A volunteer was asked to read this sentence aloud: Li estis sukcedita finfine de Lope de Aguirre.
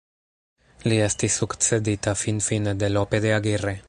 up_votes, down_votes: 0, 2